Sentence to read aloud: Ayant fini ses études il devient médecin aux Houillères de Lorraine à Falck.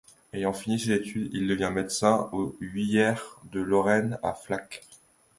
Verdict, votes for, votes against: rejected, 0, 2